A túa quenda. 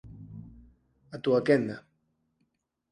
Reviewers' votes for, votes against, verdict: 4, 0, accepted